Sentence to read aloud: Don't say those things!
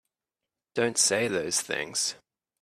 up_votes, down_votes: 2, 0